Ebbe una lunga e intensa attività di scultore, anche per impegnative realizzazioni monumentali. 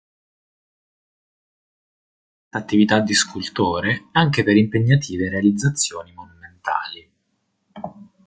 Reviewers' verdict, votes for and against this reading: rejected, 0, 2